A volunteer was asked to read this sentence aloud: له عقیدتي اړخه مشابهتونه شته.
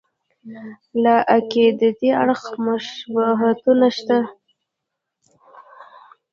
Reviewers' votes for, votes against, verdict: 2, 1, accepted